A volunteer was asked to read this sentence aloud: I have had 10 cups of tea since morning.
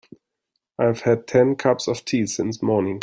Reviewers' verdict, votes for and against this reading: rejected, 0, 2